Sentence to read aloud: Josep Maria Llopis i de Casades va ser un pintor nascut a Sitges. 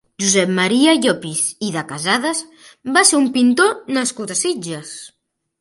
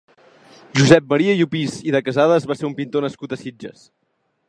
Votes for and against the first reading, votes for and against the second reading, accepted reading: 3, 0, 1, 2, first